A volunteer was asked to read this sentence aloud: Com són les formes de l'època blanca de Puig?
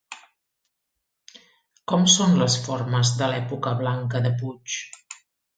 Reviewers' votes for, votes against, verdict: 3, 0, accepted